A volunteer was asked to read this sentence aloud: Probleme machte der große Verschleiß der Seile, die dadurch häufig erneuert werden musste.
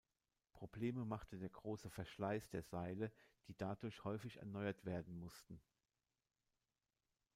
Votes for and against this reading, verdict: 0, 2, rejected